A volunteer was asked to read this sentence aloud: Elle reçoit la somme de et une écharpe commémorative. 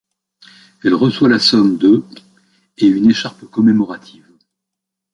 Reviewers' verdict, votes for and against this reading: accepted, 2, 0